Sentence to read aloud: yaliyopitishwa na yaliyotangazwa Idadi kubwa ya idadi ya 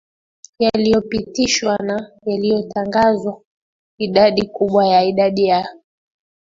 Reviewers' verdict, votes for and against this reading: accepted, 2, 1